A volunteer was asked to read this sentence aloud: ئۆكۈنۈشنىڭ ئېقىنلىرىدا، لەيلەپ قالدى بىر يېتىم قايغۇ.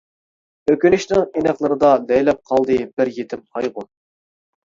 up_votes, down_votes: 0, 2